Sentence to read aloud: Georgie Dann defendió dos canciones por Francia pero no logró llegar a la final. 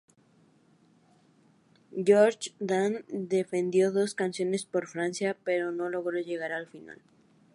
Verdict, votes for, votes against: rejected, 0, 2